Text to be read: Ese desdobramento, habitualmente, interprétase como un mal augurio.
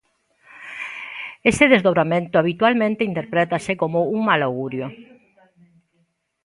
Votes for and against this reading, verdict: 2, 0, accepted